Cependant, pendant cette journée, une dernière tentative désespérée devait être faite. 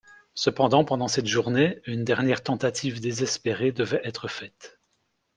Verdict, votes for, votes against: accepted, 2, 0